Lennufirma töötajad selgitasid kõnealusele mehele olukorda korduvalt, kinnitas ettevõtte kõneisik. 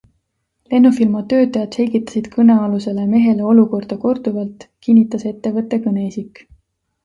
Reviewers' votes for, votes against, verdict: 2, 0, accepted